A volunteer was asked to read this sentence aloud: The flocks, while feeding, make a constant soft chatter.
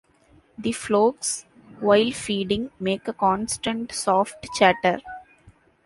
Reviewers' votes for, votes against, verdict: 0, 2, rejected